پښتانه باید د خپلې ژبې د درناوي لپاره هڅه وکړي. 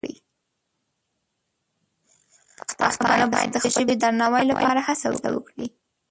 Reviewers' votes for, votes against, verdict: 1, 2, rejected